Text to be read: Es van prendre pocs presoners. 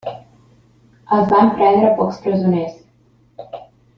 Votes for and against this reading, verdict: 0, 2, rejected